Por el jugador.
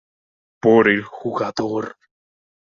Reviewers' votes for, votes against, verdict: 2, 1, accepted